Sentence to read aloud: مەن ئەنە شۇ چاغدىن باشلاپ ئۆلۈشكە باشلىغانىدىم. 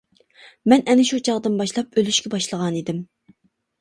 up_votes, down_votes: 2, 0